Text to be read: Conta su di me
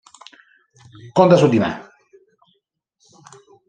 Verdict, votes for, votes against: accepted, 2, 0